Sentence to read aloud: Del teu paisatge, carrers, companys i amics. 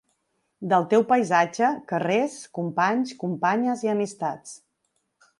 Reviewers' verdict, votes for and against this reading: rejected, 0, 2